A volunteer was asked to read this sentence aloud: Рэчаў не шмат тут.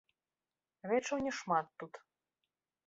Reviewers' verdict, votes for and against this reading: rejected, 1, 3